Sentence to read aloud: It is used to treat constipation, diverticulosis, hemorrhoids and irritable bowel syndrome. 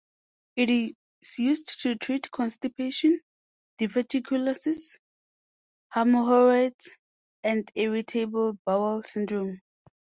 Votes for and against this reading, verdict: 2, 0, accepted